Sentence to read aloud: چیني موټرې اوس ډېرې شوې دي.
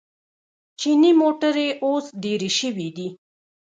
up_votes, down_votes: 1, 2